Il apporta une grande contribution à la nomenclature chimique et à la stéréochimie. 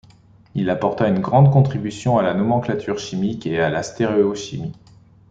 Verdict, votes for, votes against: accepted, 2, 1